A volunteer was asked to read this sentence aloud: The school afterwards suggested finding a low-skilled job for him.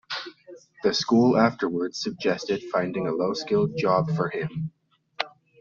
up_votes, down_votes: 1, 2